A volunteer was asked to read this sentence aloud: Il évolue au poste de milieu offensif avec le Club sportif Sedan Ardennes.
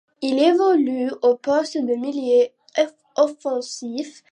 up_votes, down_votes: 1, 2